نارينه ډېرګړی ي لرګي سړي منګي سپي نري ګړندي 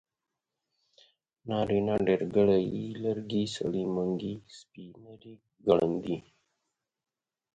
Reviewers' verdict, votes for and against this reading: accepted, 4, 0